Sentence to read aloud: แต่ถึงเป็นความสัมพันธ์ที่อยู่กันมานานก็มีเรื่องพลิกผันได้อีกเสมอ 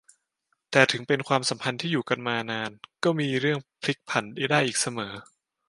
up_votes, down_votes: 1, 2